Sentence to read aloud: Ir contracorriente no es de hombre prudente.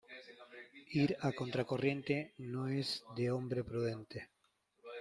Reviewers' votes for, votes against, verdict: 1, 2, rejected